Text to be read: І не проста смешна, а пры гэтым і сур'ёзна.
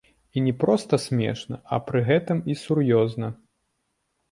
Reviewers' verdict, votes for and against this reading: rejected, 0, 2